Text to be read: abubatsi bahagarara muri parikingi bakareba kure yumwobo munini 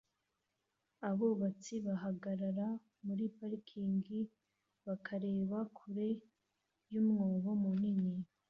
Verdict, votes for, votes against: accepted, 2, 1